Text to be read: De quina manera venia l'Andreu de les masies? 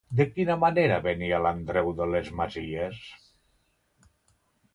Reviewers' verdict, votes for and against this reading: accepted, 2, 0